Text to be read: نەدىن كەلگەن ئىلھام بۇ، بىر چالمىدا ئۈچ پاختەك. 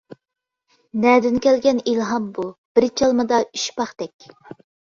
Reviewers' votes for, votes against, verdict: 2, 0, accepted